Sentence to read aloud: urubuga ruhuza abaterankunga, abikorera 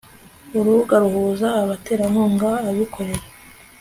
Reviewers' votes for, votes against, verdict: 3, 0, accepted